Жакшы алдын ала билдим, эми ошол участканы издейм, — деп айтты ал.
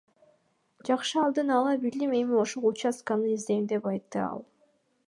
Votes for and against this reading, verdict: 1, 2, rejected